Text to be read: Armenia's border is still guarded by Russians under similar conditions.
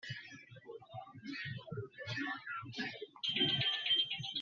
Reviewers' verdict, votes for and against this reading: rejected, 0, 2